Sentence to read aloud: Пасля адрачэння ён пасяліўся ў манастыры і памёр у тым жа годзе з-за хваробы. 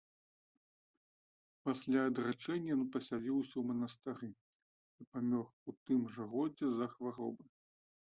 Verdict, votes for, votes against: accepted, 2, 0